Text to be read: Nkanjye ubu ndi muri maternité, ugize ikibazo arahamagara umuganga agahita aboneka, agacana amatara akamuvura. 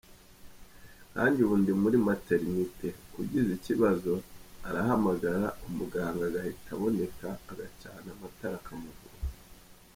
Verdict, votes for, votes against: accepted, 2, 0